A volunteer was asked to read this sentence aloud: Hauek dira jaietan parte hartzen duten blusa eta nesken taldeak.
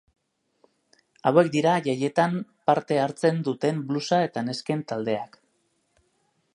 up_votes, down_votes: 3, 0